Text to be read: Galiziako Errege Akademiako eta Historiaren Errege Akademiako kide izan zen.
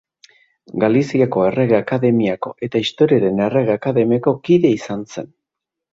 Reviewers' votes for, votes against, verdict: 2, 0, accepted